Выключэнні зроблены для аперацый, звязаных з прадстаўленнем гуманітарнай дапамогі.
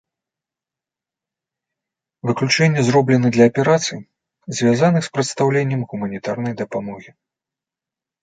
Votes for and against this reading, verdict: 2, 0, accepted